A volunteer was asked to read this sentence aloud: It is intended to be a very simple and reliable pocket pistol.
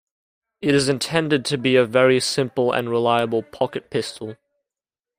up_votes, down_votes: 2, 0